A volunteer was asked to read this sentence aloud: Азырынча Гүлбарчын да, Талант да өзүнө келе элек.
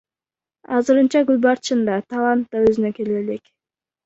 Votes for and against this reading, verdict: 2, 1, accepted